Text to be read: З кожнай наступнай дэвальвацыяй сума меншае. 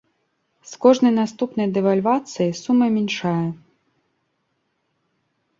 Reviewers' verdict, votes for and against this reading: rejected, 1, 2